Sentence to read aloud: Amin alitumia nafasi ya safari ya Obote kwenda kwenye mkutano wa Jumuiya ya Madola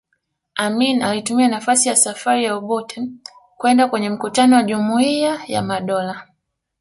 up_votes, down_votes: 2, 0